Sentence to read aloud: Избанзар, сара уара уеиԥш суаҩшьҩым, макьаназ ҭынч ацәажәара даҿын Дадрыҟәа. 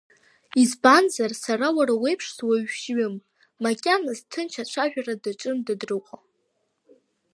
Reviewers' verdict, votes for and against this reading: accepted, 2, 1